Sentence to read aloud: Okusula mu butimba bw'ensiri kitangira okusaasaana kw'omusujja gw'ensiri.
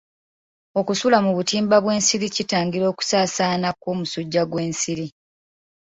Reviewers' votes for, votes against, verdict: 2, 0, accepted